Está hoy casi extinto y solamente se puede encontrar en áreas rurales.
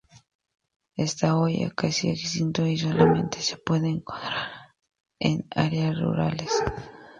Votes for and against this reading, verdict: 0, 2, rejected